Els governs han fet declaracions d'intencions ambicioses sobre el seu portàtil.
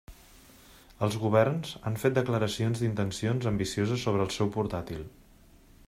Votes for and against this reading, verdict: 3, 0, accepted